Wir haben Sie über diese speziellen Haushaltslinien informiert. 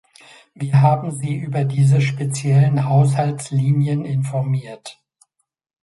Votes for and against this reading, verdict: 2, 1, accepted